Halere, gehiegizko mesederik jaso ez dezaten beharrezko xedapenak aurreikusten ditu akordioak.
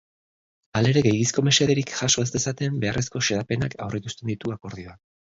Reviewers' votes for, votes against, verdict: 2, 0, accepted